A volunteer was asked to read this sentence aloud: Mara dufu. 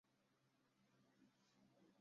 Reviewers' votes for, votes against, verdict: 0, 2, rejected